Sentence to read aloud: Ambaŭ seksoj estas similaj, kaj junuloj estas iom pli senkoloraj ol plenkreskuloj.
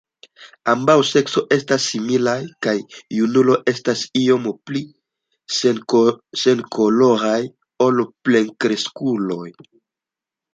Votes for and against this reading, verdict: 1, 2, rejected